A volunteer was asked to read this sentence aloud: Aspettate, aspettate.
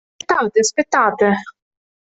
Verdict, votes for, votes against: rejected, 0, 2